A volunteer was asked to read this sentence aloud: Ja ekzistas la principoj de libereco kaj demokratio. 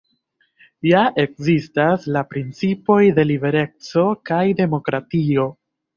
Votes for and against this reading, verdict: 0, 2, rejected